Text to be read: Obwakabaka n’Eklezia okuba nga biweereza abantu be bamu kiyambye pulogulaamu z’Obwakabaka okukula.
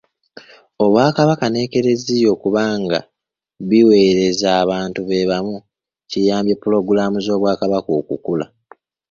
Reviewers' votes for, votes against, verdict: 2, 0, accepted